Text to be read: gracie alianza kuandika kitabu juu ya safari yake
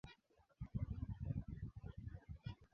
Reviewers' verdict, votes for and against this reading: rejected, 0, 5